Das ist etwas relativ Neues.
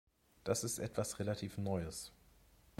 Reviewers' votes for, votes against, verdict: 2, 0, accepted